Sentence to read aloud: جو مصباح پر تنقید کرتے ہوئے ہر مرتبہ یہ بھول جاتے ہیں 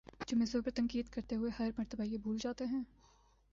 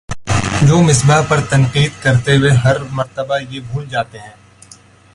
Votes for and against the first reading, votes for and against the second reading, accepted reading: 2, 1, 1, 2, first